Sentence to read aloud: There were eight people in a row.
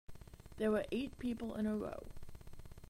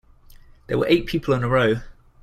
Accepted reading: second